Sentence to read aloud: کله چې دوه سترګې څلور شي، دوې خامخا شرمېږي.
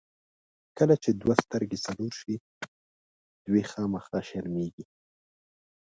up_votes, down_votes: 0, 2